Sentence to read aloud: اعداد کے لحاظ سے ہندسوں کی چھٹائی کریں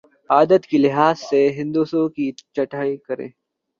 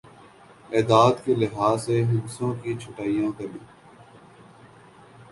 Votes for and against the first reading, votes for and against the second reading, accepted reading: 1, 2, 3, 0, second